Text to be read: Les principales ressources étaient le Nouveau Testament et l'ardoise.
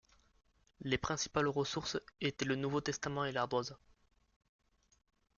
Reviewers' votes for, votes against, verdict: 1, 2, rejected